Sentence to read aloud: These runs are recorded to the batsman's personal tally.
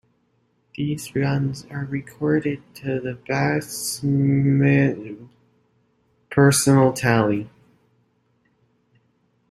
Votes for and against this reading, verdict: 1, 2, rejected